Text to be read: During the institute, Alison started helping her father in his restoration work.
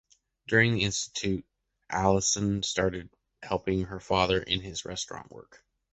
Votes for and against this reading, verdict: 0, 2, rejected